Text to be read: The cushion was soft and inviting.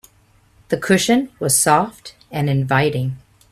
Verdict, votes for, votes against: accepted, 2, 0